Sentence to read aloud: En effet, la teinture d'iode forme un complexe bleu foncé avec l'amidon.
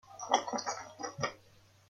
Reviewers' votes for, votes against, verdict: 0, 2, rejected